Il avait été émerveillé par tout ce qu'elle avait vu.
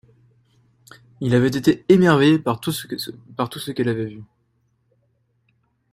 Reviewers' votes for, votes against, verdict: 0, 2, rejected